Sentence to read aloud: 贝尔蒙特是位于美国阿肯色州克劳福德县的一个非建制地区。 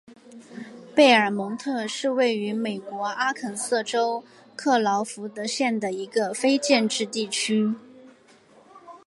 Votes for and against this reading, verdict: 2, 0, accepted